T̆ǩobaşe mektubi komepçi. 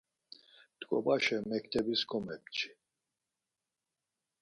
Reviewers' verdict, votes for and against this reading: rejected, 0, 4